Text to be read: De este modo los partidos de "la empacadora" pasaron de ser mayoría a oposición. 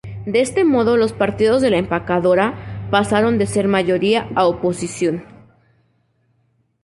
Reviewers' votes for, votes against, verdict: 4, 2, accepted